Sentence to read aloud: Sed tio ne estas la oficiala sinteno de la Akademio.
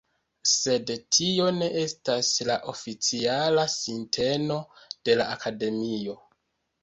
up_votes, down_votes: 2, 1